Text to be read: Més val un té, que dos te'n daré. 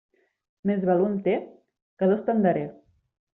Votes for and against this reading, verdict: 2, 0, accepted